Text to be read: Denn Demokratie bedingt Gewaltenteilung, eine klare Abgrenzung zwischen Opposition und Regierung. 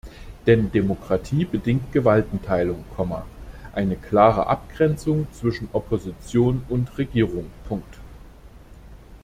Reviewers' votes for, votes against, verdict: 0, 2, rejected